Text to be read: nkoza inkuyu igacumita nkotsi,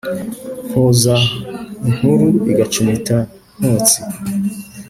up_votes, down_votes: 0, 2